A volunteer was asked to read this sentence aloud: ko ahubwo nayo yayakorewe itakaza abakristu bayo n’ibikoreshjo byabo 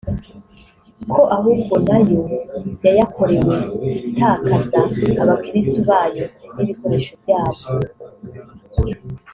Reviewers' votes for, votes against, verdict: 2, 0, accepted